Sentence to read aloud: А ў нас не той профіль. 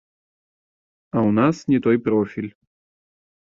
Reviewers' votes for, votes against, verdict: 1, 2, rejected